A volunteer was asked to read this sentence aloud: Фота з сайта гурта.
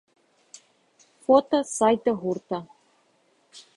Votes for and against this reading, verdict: 0, 2, rejected